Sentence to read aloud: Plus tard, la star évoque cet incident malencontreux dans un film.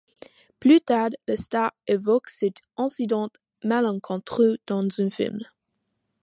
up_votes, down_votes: 1, 2